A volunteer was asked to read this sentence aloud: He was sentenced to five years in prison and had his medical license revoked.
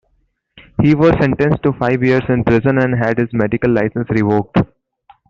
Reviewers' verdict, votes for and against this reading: accepted, 2, 1